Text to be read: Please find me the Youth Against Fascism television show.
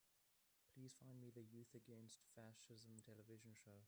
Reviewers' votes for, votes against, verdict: 1, 2, rejected